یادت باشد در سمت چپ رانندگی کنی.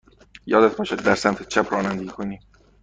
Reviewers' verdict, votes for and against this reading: rejected, 1, 2